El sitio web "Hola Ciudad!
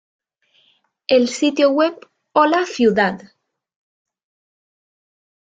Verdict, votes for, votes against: accepted, 2, 0